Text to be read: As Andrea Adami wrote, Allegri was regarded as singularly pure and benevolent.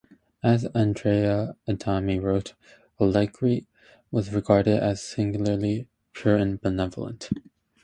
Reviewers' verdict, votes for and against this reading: accepted, 2, 0